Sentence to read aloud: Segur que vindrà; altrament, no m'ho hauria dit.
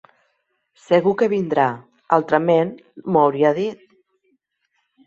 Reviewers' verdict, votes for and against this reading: rejected, 1, 2